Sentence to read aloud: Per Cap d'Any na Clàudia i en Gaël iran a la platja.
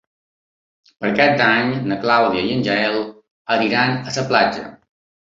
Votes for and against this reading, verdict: 1, 2, rejected